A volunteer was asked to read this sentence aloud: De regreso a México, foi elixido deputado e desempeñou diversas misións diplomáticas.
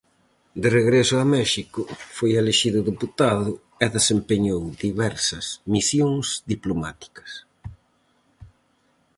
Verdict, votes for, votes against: rejected, 2, 2